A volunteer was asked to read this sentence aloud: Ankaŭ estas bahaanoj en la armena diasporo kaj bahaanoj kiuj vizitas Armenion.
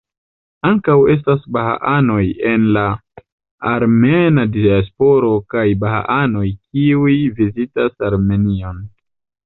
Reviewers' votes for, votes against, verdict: 0, 2, rejected